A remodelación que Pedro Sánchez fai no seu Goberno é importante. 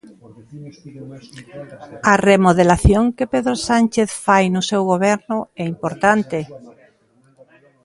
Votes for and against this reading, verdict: 1, 2, rejected